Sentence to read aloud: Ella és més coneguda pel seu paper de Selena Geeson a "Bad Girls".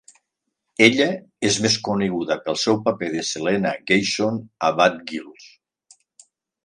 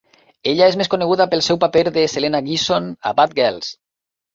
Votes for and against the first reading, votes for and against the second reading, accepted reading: 0, 2, 2, 0, second